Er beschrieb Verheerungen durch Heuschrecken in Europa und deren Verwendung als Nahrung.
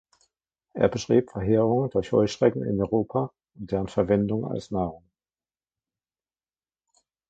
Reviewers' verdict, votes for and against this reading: rejected, 1, 2